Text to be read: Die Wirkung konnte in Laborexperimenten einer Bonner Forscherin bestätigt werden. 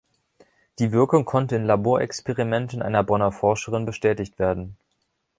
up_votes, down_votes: 1, 2